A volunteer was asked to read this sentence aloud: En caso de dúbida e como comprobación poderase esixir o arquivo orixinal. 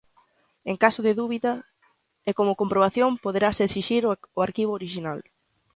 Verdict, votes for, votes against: rejected, 0, 2